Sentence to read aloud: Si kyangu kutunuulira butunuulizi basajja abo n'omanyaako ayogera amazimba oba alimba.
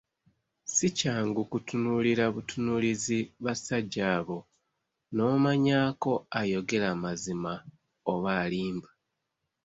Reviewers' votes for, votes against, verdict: 2, 0, accepted